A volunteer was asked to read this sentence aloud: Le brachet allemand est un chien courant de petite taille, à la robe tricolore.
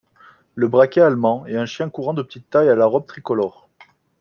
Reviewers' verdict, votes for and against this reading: accepted, 2, 0